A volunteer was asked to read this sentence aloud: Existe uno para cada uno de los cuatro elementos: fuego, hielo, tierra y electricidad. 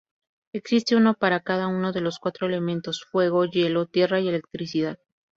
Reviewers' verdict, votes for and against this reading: accepted, 4, 0